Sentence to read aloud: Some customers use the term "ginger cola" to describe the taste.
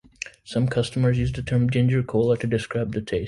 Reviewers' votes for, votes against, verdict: 0, 2, rejected